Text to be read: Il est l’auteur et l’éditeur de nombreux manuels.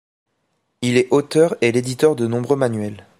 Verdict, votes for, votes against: rejected, 1, 2